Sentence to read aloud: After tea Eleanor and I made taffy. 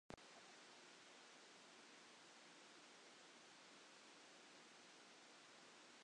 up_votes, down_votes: 0, 2